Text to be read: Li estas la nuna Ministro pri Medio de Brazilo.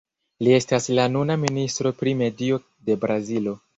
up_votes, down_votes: 0, 2